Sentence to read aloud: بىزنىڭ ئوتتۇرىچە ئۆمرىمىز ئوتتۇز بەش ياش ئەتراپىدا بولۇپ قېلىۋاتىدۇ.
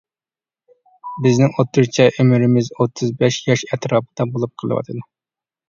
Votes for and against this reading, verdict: 3, 0, accepted